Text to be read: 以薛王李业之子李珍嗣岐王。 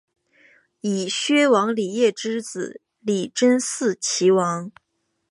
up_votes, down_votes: 2, 0